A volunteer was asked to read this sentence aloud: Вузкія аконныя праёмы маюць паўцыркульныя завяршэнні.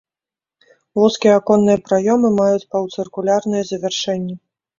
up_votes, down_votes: 0, 2